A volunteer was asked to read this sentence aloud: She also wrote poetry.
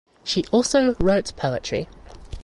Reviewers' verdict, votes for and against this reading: accepted, 2, 0